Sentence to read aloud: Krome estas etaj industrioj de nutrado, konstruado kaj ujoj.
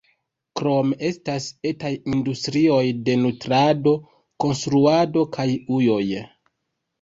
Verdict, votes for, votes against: accepted, 3, 0